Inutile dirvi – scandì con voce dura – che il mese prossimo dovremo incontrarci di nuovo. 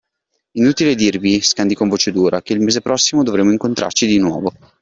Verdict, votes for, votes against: accepted, 2, 0